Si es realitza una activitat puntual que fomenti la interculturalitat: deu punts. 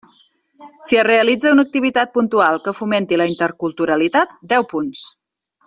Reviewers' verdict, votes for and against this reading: accepted, 3, 0